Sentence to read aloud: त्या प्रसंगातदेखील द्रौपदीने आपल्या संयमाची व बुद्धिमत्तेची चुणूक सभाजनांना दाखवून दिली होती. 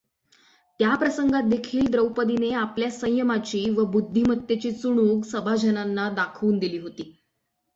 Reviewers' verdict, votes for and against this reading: accepted, 6, 3